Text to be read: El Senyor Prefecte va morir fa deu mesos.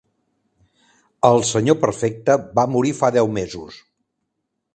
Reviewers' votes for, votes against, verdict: 1, 2, rejected